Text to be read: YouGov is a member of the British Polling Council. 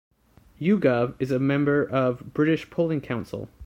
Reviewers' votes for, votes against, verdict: 0, 2, rejected